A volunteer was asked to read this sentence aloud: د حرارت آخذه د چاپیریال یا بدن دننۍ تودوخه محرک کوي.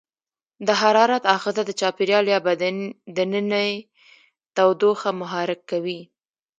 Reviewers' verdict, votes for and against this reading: rejected, 1, 2